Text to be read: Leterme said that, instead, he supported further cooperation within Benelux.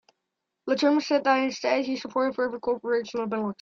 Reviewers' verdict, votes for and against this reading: rejected, 0, 3